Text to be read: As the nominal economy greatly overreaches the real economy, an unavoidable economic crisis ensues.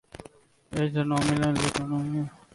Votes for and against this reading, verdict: 0, 2, rejected